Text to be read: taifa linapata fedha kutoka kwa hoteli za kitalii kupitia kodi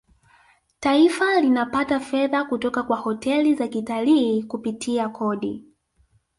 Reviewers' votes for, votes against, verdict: 3, 0, accepted